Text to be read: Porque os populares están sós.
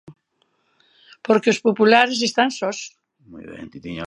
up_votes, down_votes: 0, 2